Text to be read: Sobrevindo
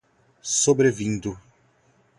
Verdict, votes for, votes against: rejected, 2, 2